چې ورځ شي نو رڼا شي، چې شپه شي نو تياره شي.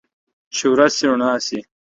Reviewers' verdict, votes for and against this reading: accepted, 3, 2